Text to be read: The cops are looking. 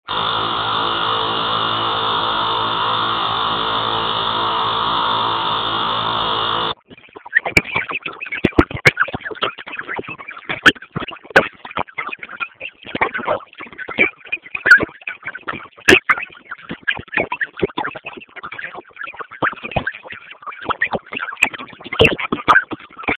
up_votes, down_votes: 0, 4